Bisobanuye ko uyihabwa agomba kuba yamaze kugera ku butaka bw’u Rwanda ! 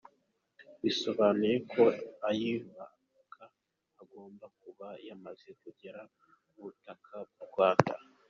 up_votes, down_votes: 2, 0